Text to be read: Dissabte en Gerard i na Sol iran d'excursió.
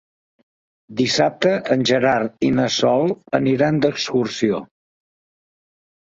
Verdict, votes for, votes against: rejected, 1, 2